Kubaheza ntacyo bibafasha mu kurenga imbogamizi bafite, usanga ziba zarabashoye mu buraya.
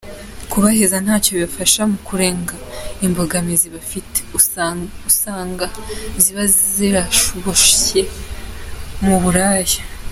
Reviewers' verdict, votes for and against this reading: rejected, 0, 2